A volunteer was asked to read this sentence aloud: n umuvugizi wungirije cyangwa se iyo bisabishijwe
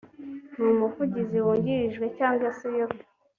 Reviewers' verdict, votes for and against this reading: rejected, 1, 2